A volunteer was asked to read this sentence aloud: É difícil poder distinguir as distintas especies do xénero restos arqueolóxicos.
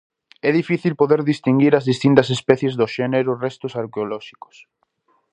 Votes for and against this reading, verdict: 2, 0, accepted